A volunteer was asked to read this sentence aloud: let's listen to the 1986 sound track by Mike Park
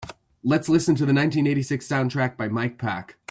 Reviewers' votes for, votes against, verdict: 0, 2, rejected